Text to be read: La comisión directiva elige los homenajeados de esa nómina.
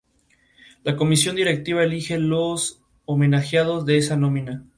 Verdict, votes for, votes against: accepted, 6, 2